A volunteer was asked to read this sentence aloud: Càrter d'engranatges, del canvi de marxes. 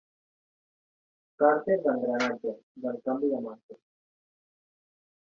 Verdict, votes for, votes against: accepted, 4, 0